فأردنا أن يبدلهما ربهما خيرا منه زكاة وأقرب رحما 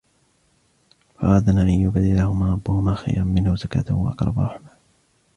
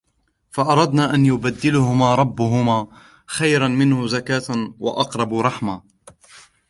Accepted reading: first